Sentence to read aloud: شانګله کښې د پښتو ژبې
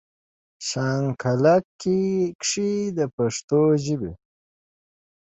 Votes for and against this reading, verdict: 0, 2, rejected